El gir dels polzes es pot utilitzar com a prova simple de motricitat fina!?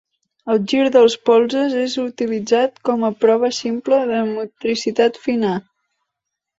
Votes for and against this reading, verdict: 0, 2, rejected